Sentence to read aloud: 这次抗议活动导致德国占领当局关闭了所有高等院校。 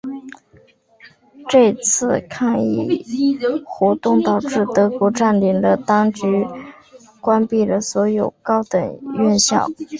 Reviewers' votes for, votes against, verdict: 0, 3, rejected